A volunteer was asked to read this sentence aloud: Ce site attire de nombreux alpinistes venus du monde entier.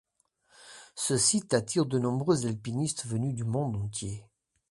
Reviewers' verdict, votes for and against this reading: accepted, 2, 0